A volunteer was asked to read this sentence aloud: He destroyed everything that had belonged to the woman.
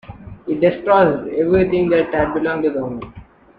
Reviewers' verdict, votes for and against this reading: rejected, 1, 2